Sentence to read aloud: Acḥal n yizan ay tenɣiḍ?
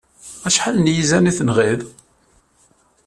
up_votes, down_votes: 2, 0